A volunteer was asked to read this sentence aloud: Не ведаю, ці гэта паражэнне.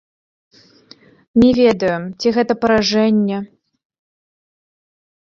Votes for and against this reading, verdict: 0, 2, rejected